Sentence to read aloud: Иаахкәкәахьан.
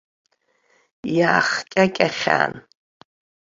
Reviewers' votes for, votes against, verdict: 0, 2, rejected